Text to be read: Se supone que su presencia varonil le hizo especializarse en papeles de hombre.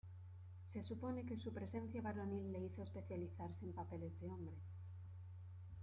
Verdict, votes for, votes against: rejected, 0, 2